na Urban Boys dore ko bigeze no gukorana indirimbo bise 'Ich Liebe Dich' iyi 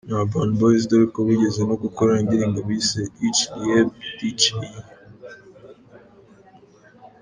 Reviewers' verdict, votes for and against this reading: accepted, 2, 0